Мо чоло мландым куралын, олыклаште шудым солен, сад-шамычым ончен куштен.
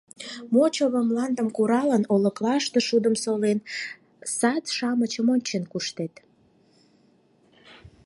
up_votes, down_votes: 2, 4